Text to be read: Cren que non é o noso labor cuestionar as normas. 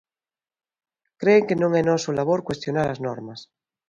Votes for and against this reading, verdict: 0, 2, rejected